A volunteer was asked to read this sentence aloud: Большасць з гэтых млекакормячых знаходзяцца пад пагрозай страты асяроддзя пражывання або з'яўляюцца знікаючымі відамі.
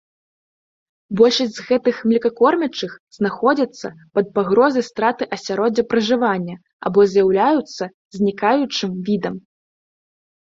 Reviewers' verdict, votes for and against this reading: rejected, 0, 2